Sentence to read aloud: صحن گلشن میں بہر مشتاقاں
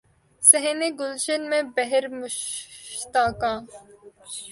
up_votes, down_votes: 2, 0